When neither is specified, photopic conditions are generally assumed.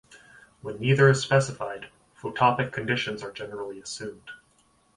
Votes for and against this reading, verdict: 2, 0, accepted